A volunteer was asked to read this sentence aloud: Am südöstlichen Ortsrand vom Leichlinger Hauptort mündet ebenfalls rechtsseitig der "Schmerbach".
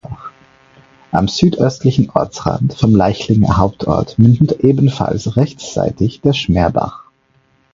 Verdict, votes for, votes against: accepted, 4, 0